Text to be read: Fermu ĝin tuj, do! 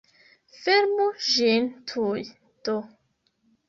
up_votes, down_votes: 1, 2